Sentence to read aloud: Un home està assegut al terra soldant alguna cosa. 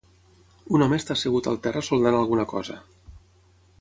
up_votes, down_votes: 6, 0